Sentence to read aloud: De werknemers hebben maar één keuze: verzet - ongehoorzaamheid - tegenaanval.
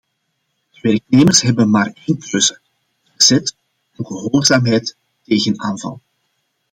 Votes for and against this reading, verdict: 1, 2, rejected